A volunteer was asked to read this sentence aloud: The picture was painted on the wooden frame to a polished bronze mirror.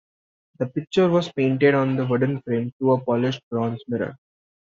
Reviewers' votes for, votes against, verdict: 2, 0, accepted